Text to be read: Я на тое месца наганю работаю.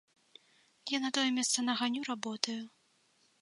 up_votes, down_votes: 3, 0